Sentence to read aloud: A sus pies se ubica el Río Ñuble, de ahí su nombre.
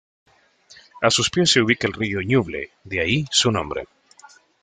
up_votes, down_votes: 2, 0